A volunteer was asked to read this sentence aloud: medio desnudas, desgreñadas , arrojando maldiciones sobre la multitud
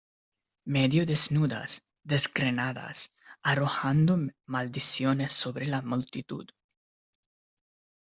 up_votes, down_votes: 0, 2